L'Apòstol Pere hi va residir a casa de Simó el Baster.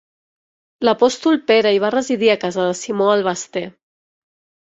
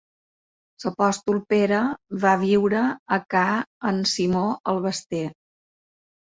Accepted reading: first